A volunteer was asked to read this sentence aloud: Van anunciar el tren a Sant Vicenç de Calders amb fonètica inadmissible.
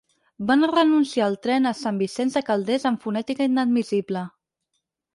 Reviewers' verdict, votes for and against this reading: rejected, 4, 8